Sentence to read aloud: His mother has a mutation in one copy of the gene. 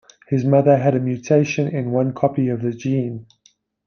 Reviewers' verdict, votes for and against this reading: rejected, 0, 2